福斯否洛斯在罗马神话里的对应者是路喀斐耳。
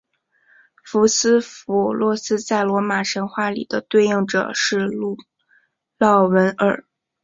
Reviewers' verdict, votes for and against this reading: accepted, 2, 1